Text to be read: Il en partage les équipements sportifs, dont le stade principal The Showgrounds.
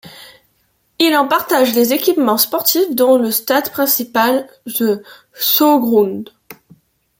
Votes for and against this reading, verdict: 2, 1, accepted